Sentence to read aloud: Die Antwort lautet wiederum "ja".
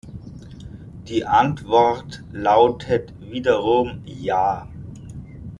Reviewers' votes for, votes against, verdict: 1, 2, rejected